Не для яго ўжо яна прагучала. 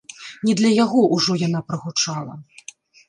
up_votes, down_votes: 1, 2